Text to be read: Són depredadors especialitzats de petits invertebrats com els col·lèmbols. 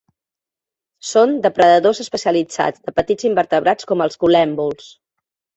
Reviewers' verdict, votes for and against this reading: rejected, 1, 2